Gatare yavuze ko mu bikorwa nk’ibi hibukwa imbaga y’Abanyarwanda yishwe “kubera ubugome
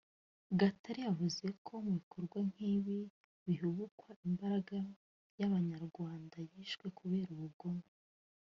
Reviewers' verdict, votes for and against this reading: rejected, 1, 2